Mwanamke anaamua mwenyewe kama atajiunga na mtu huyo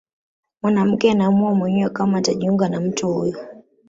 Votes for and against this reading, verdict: 1, 2, rejected